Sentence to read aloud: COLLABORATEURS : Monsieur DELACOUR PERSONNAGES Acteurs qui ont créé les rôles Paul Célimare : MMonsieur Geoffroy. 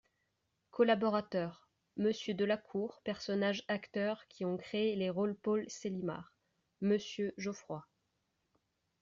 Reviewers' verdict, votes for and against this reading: accepted, 2, 1